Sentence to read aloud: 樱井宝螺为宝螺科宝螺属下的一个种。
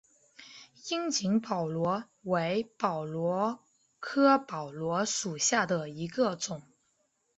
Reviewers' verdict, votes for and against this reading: accepted, 2, 0